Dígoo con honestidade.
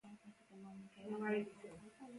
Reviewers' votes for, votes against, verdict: 0, 2, rejected